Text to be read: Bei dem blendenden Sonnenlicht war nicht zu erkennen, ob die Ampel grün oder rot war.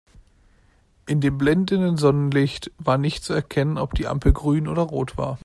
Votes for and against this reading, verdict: 1, 2, rejected